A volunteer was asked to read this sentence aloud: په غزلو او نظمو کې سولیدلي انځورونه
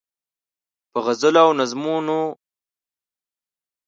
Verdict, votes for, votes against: rejected, 0, 2